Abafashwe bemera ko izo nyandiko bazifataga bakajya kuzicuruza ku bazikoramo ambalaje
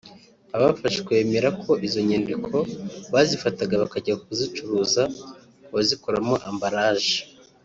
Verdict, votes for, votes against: accepted, 2, 0